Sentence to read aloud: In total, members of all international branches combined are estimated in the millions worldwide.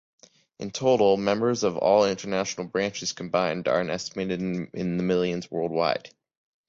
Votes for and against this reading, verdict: 2, 3, rejected